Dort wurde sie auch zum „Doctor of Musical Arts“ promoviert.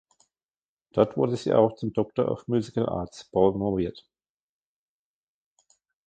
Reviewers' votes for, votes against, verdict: 1, 2, rejected